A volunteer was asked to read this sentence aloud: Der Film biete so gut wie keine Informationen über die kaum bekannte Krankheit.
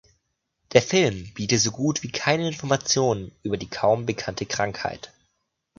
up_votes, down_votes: 2, 0